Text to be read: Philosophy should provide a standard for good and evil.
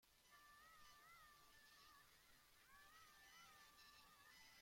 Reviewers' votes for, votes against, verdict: 0, 2, rejected